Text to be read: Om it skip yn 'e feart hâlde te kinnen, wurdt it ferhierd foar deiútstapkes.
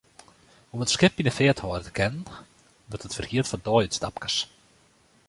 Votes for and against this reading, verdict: 2, 0, accepted